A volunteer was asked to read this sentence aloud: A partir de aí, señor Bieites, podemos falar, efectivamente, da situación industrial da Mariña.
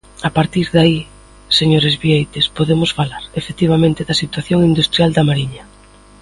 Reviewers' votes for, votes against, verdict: 0, 2, rejected